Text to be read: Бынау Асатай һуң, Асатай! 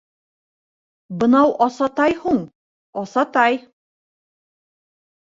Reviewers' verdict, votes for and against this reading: rejected, 0, 2